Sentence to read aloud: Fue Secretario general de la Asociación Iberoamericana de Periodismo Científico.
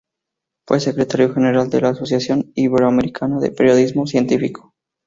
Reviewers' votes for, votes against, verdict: 2, 0, accepted